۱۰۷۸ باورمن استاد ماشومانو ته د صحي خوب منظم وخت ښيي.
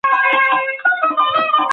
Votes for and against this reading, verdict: 0, 2, rejected